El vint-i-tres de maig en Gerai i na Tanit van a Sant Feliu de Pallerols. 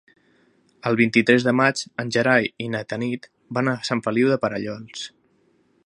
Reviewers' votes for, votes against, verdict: 1, 2, rejected